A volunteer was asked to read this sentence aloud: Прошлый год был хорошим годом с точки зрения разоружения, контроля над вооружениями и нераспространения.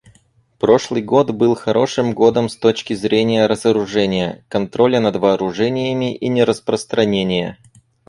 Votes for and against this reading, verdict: 4, 0, accepted